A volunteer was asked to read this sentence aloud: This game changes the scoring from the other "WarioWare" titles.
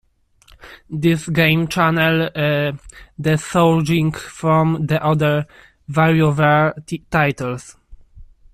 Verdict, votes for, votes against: rejected, 0, 2